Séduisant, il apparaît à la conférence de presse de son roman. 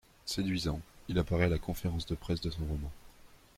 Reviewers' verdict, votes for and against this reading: rejected, 0, 2